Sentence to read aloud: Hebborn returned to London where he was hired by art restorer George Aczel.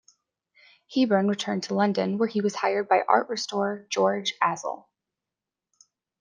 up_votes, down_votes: 2, 1